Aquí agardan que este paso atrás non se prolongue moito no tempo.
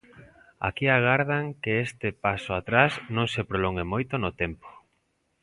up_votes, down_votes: 2, 0